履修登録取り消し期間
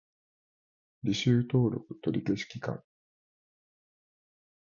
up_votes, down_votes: 2, 0